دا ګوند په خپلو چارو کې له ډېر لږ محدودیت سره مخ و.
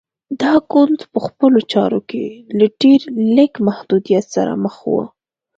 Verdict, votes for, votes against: accepted, 2, 0